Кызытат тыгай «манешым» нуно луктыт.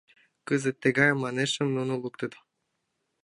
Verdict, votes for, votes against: accepted, 3, 1